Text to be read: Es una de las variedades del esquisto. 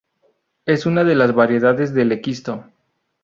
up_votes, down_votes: 0, 2